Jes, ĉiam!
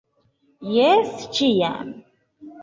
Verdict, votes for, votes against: accepted, 2, 0